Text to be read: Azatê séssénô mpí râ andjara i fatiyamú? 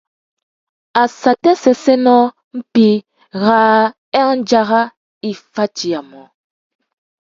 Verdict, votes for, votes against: rejected, 0, 2